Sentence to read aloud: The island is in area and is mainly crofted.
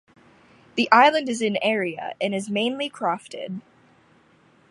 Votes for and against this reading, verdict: 2, 0, accepted